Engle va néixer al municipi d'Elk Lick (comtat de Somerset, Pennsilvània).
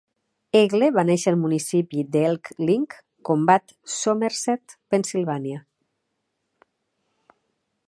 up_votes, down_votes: 0, 2